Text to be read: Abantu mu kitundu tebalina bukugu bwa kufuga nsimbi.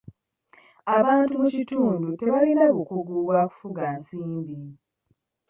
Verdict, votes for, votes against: accepted, 2, 0